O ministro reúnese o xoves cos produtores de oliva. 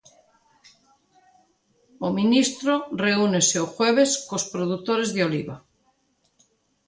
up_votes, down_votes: 0, 2